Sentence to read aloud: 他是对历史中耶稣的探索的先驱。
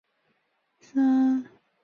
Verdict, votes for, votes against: rejected, 0, 4